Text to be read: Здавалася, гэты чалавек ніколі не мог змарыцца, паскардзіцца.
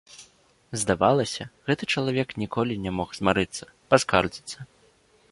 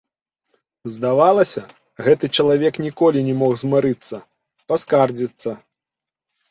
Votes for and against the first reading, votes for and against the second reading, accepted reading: 2, 0, 0, 2, first